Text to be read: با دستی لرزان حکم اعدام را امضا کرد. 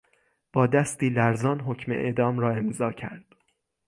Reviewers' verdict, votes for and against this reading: accepted, 3, 0